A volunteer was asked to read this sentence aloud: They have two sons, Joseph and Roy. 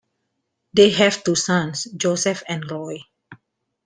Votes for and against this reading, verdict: 2, 0, accepted